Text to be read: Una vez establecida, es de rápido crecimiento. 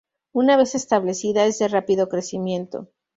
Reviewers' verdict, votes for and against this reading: accepted, 2, 0